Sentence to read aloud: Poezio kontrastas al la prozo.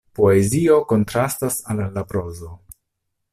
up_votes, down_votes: 0, 2